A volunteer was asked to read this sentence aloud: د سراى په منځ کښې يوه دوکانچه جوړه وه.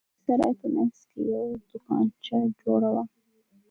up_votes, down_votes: 2, 0